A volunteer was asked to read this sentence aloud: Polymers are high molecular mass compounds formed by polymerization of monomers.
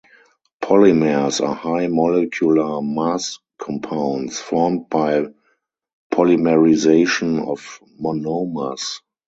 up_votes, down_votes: 2, 4